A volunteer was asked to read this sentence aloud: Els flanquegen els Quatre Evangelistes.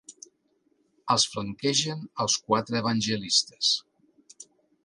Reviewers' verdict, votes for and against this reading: accepted, 2, 0